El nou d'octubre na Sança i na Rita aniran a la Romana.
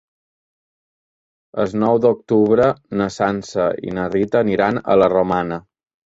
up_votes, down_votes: 2, 0